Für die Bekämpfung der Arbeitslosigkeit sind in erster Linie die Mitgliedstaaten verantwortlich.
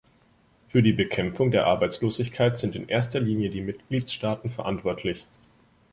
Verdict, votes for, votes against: accepted, 2, 0